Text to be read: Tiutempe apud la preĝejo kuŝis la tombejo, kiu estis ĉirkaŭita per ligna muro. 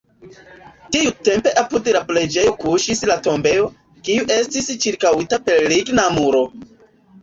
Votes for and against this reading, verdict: 0, 2, rejected